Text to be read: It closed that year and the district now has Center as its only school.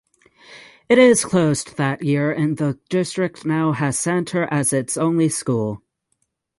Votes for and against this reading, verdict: 0, 6, rejected